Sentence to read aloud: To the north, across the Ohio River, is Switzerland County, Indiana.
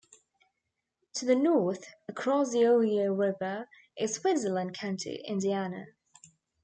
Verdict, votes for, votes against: rejected, 0, 3